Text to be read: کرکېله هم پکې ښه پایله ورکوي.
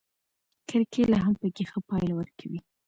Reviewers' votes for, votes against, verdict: 2, 0, accepted